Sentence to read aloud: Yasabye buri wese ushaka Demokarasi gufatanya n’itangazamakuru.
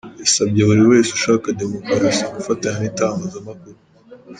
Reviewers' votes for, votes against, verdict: 2, 0, accepted